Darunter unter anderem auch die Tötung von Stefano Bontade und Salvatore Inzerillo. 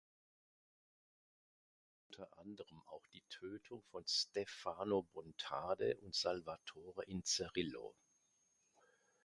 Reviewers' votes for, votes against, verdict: 0, 2, rejected